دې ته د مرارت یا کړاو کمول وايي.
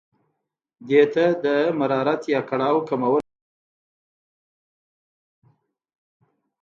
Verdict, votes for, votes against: rejected, 0, 2